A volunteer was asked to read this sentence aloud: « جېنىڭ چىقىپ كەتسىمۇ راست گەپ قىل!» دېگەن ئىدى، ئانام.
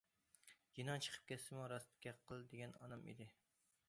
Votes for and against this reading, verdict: 0, 2, rejected